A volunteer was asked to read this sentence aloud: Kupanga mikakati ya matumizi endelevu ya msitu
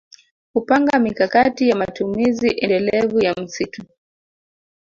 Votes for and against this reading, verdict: 2, 1, accepted